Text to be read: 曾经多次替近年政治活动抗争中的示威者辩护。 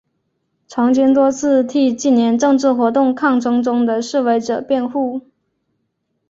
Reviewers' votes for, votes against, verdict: 2, 0, accepted